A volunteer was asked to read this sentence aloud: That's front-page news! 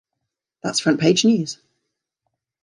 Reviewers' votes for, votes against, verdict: 0, 2, rejected